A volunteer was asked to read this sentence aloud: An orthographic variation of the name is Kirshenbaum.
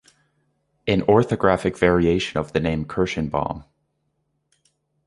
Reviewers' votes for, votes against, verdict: 1, 2, rejected